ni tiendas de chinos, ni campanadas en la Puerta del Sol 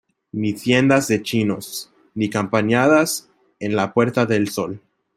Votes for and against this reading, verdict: 0, 2, rejected